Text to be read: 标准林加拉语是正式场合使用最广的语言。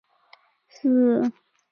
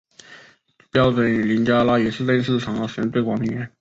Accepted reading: second